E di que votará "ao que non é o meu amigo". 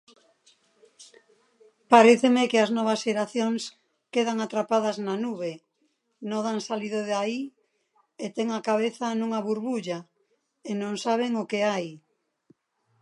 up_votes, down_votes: 0, 2